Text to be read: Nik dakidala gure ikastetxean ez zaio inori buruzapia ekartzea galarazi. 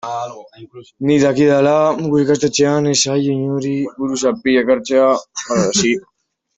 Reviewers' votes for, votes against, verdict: 1, 2, rejected